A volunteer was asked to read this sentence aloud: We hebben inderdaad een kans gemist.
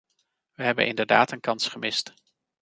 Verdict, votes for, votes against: accepted, 2, 0